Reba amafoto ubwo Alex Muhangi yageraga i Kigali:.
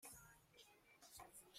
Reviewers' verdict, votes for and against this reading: rejected, 0, 2